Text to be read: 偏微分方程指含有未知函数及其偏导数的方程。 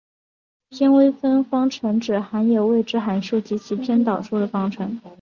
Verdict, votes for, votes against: accepted, 2, 0